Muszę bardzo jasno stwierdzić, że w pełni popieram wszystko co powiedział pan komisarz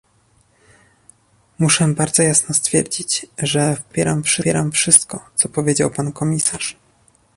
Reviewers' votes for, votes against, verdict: 0, 2, rejected